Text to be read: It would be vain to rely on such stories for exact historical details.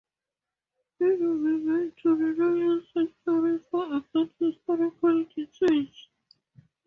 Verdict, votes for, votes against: rejected, 0, 2